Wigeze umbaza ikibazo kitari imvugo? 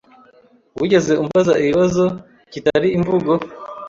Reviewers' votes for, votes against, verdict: 1, 2, rejected